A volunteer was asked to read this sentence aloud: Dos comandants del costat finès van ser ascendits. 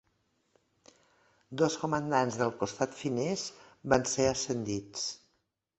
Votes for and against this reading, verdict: 3, 0, accepted